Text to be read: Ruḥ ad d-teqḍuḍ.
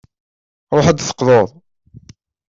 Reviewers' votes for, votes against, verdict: 1, 2, rejected